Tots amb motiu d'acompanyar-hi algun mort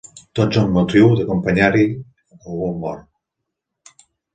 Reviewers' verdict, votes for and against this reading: rejected, 1, 2